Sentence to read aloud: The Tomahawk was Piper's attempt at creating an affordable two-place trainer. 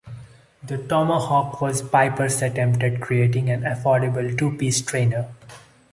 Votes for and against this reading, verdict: 1, 2, rejected